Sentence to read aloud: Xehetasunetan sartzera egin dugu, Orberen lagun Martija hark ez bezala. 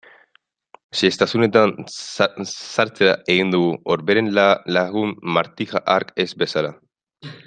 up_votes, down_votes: 0, 2